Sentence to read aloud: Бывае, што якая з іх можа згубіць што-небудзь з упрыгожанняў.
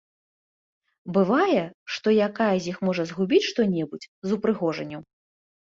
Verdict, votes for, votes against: accepted, 2, 0